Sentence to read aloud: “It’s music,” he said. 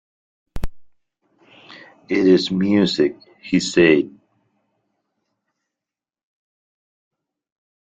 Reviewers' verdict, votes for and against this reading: rejected, 1, 2